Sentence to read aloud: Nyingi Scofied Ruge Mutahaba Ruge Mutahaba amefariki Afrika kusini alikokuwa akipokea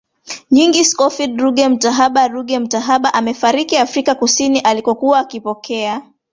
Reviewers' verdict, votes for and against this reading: rejected, 0, 2